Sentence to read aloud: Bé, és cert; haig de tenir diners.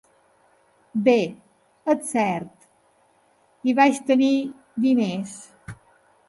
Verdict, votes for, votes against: rejected, 0, 2